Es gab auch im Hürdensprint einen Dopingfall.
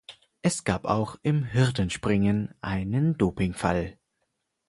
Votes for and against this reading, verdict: 2, 4, rejected